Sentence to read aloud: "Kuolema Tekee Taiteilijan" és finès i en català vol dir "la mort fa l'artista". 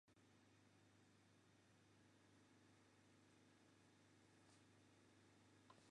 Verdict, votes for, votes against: rejected, 1, 2